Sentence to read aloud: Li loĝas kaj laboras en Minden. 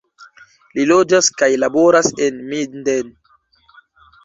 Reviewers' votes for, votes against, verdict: 2, 0, accepted